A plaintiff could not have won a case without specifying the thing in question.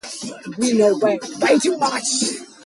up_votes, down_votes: 0, 2